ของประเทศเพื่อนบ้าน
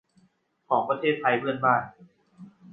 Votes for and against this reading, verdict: 0, 2, rejected